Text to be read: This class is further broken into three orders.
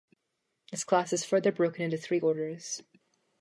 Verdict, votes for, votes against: accepted, 2, 0